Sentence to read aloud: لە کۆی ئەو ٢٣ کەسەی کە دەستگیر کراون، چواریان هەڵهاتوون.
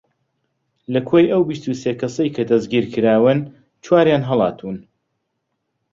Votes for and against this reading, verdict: 0, 2, rejected